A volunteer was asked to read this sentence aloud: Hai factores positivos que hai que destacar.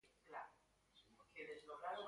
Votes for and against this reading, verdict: 0, 2, rejected